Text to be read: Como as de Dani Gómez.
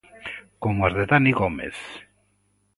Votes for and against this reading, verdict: 2, 0, accepted